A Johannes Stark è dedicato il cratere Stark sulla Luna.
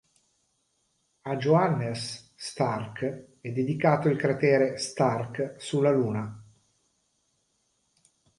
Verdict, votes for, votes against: accepted, 2, 0